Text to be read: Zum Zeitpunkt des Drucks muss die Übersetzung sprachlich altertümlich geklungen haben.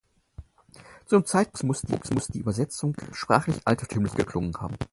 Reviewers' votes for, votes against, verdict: 0, 4, rejected